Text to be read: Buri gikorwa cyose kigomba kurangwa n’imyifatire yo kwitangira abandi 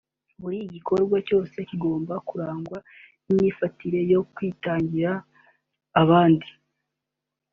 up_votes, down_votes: 2, 0